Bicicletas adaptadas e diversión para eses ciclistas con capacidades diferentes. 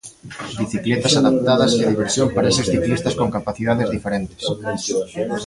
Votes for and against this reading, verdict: 1, 2, rejected